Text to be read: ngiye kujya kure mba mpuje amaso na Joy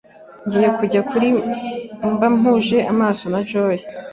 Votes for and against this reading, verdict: 1, 2, rejected